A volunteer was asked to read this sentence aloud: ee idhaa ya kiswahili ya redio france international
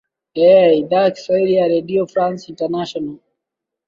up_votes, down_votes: 2, 0